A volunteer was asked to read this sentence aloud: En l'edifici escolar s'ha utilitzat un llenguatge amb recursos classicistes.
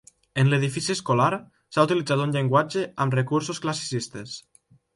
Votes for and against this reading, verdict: 2, 0, accepted